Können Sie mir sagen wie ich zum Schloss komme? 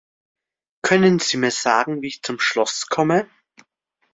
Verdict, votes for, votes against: accepted, 2, 0